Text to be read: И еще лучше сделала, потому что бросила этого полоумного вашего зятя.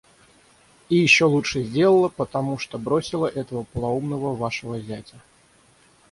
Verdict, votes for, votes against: rejected, 0, 3